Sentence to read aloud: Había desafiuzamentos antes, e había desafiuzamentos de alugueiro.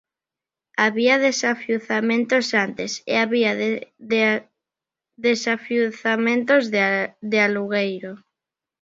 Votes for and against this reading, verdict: 1, 2, rejected